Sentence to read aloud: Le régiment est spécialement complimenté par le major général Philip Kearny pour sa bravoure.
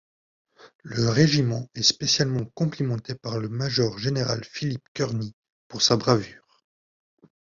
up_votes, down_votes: 1, 2